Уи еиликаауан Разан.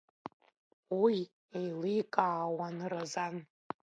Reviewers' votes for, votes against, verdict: 1, 2, rejected